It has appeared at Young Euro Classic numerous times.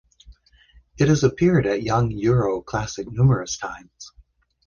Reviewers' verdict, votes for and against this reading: accepted, 2, 0